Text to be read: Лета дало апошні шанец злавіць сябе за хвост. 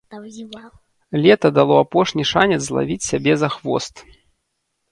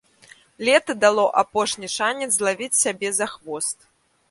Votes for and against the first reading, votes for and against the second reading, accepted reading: 1, 2, 2, 0, second